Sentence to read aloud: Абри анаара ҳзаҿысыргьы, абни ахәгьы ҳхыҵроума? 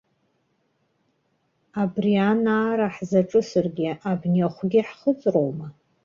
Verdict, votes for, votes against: rejected, 0, 2